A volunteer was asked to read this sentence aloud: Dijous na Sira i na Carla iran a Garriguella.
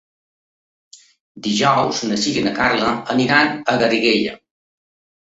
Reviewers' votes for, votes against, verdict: 0, 2, rejected